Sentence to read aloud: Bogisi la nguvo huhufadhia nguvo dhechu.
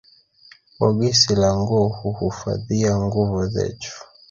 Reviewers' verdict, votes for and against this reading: rejected, 0, 2